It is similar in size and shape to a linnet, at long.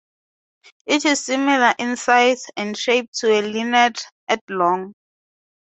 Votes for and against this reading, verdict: 2, 0, accepted